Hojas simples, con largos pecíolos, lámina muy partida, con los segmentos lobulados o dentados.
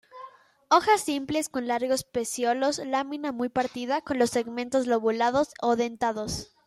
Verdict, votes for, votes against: accepted, 2, 0